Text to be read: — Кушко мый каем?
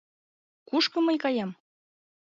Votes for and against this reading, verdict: 2, 0, accepted